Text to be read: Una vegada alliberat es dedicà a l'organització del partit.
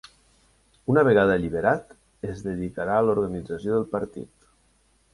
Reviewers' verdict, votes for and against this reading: rejected, 1, 3